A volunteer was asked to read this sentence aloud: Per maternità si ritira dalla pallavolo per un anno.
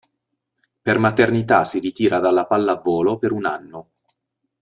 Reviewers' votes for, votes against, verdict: 2, 0, accepted